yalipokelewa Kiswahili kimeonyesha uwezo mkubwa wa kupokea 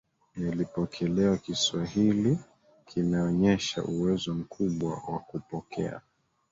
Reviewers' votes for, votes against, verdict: 0, 2, rejected